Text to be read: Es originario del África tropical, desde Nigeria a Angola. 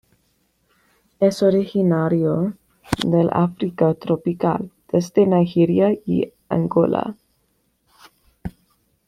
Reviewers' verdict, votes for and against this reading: rejected, 1, 2